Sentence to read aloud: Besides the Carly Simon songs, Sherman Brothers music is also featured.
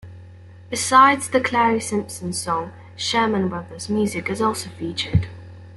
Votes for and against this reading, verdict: 1, 2, rejected